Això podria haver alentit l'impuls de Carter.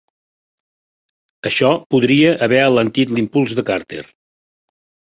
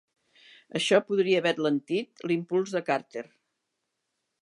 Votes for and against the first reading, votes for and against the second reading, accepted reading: 4, 0, 1, 2, first